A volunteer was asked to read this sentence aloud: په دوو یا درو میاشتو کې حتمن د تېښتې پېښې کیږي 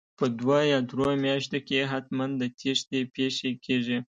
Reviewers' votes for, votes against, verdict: 2, 0, accepted